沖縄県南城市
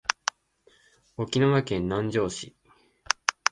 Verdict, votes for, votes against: accepted, 2, 0